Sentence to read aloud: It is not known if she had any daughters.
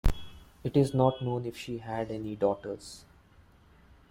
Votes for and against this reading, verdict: 2, 1, accepted